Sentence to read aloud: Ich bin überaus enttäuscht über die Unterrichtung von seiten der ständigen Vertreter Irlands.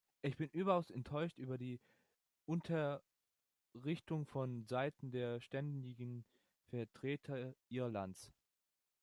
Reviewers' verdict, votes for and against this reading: accepted, 2, 1